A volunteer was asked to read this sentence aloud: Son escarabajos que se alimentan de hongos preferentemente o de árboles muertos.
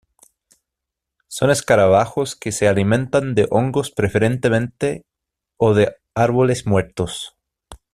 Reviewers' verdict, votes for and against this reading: accepted, 2, 0